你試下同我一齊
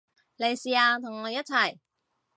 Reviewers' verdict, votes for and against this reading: accepted, 2, 0